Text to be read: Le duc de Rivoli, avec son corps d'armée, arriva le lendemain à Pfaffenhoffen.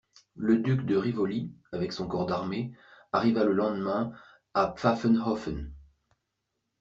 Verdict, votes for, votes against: accepted, 2, 0